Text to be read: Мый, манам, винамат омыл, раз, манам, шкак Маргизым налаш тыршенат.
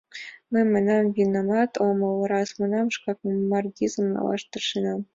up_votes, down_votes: 2, 1